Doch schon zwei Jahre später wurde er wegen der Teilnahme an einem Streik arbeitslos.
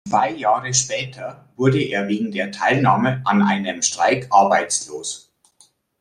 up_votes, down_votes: 0, 2